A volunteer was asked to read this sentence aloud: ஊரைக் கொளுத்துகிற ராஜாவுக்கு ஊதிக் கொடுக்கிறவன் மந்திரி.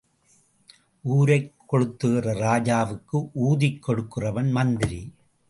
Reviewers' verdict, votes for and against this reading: accepted, 2, 0